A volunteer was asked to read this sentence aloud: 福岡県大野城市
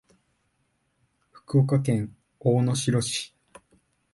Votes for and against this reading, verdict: 1, 2, rejected